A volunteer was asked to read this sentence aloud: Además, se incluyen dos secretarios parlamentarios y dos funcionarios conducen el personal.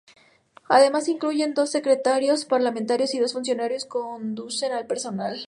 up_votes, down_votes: 0, 4